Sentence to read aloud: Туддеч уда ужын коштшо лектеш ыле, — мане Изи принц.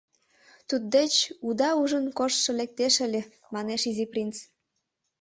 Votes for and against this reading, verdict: 1, 2, rejected